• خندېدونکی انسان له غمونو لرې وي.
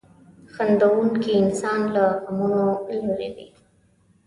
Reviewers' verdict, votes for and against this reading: rejected, 0, 2